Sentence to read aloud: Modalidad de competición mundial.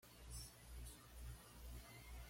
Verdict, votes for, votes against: rejected, 1, 2